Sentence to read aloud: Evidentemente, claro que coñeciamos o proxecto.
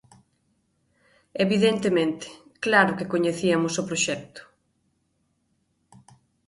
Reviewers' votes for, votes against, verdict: 1, 2, rejected